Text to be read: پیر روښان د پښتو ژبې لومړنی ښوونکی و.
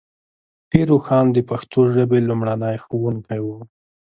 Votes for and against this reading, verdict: 0, 2, rejected